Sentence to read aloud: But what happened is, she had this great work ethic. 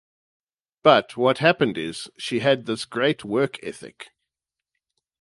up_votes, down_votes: 2, 0